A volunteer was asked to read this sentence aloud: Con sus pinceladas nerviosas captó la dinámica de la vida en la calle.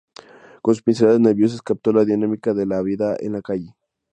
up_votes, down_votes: 2, 0